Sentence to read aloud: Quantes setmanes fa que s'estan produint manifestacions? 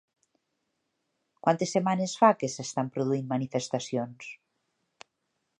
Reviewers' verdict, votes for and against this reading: accepted, 3, 0